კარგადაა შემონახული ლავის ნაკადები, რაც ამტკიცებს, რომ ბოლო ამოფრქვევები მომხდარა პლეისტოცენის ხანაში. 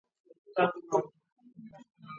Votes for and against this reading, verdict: 0, 2, rejected